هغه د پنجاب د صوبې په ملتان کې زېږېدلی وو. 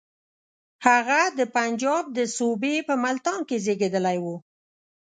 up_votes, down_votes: 2, 0